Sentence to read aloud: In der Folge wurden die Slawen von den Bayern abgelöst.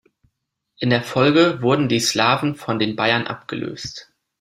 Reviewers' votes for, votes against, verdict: 2, 0, accepted